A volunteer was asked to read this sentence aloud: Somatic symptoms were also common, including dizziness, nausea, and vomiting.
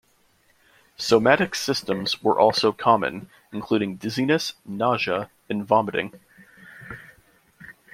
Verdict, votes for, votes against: rejected, 0, 2